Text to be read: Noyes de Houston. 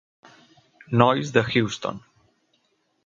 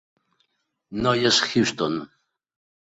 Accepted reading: first